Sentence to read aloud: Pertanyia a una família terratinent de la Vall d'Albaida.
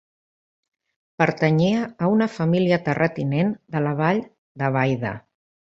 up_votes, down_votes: 0, 2